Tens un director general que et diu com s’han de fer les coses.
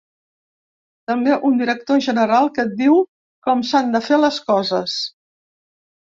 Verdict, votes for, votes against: rejected, 0, 3